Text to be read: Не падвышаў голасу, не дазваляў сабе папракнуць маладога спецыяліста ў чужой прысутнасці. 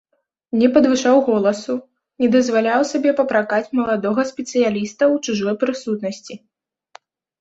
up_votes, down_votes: 0, 2